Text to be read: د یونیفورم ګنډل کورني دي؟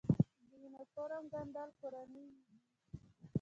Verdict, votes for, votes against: accepted, 3, 1